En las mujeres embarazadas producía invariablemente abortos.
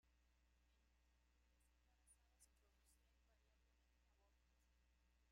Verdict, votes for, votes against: rejected, 0, 2